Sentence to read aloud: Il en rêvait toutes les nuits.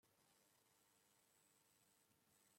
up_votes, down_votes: 0, 2